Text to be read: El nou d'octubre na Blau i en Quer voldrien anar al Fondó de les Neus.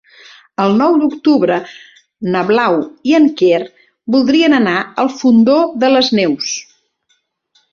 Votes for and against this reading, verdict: 4, 0, accepted